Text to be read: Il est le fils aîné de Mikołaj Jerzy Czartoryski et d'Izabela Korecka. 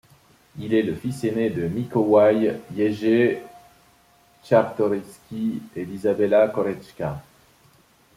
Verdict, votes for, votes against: rejected, 1, 2